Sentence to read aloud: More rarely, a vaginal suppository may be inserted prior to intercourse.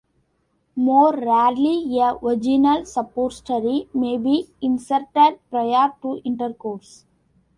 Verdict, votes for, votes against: accepted, 2, 0